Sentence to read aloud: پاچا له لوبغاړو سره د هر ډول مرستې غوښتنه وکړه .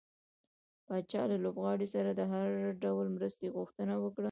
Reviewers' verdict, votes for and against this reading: rejected, 0, 2